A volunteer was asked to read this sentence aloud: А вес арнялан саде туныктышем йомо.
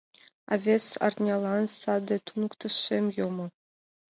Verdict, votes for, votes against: accepted, 2, 0